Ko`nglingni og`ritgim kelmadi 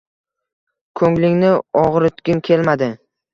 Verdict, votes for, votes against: accepted, 2, 0